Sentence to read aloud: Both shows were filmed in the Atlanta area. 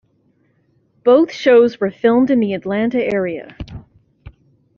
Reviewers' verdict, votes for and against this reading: accepted, 2, 0